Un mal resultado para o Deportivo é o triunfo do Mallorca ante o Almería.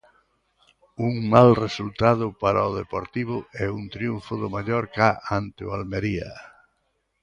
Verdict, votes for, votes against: rejected, 1, 2